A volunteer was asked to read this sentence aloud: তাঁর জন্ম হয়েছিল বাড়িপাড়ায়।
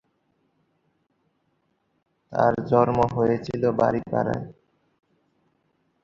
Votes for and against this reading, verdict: 0, 4, rejected